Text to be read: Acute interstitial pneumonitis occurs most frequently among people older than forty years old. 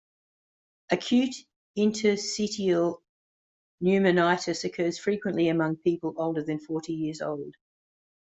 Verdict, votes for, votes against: rejected, 0, 2